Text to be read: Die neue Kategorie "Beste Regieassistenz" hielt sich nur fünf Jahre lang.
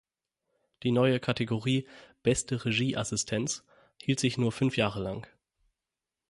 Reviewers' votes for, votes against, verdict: 6, 0, accepted